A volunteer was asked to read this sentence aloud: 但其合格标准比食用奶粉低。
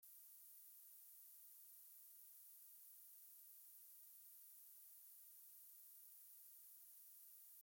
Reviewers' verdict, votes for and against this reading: rejected, 0, 2